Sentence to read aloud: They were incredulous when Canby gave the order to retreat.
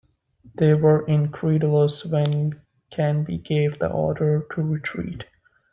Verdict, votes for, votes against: rejected, 0, 2